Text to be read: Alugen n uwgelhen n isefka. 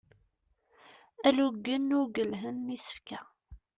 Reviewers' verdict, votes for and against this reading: rejected, 0, 2